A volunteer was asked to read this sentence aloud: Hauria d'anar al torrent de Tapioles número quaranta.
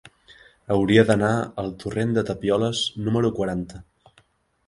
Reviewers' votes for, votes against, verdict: 2, 0, accepted